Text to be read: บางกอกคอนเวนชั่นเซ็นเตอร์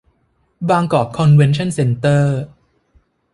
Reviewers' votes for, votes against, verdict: 2, 0, accepted